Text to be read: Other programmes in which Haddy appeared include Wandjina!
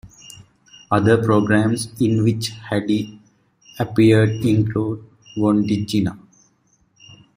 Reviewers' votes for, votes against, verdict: 2, 1, accepted